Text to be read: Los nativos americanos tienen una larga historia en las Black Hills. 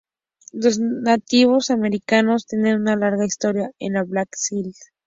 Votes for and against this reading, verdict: 2, 2, rejected